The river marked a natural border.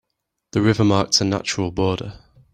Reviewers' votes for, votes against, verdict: 0, 2, rejected